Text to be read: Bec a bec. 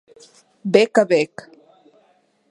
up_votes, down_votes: 2, 0